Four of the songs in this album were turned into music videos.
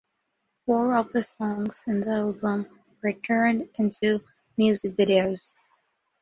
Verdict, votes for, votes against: rejected, 1, 2